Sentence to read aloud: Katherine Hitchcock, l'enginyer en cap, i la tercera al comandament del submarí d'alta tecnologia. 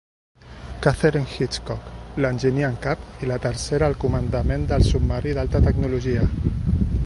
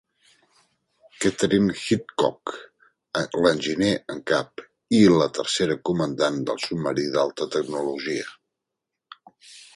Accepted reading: first